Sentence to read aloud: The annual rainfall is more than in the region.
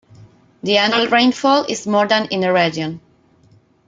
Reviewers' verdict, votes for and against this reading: accepted, 2, 1